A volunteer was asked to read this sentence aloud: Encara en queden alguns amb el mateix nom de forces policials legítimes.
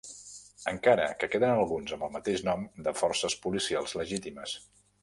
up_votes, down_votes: 0, 2